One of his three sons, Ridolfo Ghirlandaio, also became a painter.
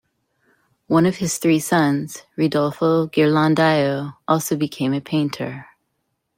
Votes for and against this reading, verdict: 2, 0, accepted